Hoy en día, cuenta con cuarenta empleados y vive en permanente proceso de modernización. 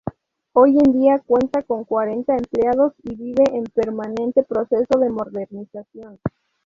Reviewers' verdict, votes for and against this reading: rejected, 0, 2